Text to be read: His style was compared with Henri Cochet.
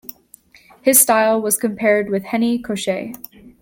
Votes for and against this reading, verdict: 1, 2, rejected